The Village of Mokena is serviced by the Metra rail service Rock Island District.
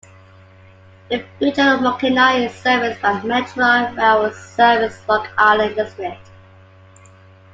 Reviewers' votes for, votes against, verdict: 2, 1, accepted